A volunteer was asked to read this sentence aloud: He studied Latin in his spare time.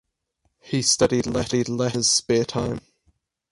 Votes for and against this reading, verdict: 2, 4, rejected